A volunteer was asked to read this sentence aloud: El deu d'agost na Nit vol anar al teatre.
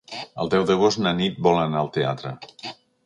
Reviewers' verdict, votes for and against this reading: accepted, 3, 0